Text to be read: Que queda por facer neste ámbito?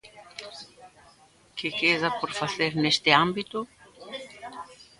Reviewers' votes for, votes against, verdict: 1, 2, rejected